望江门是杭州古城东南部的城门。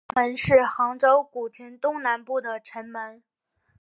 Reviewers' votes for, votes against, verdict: 2, 3, rejected